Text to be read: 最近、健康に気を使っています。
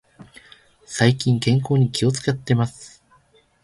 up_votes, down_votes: 2, 0